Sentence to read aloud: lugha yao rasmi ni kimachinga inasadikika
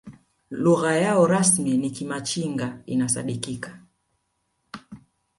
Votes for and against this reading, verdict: 1, 2, rejected